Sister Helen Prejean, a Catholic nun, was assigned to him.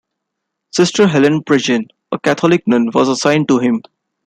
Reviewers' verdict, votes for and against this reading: accepted, 2, 0